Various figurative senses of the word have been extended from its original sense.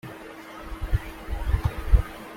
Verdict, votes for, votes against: rejected, 0, 2